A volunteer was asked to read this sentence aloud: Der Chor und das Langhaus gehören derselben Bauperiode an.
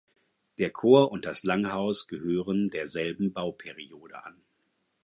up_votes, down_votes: 4, 0